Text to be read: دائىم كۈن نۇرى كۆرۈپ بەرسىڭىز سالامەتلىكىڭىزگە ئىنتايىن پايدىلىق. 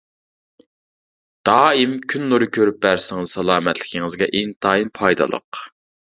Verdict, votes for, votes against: accepted, 3, 0